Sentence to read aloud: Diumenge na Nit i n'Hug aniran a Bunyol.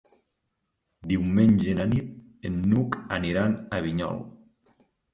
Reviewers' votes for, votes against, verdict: 0, 2, rejected